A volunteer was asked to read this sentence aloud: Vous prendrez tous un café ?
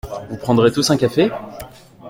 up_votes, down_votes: 2, 1